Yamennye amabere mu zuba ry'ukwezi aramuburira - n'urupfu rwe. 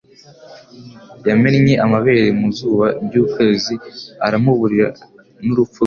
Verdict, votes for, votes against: accepted, 2, 0